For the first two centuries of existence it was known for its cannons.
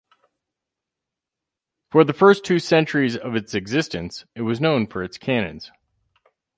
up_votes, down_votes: 4, 0